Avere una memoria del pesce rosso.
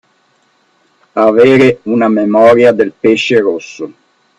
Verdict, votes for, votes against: accepted, 2, 0